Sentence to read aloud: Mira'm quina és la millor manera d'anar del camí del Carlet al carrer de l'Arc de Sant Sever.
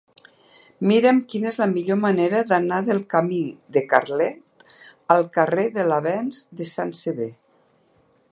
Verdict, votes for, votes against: rejected, 0, 3